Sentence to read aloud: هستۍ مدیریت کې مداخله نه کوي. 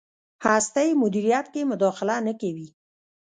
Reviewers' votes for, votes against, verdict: 0, 2, rejected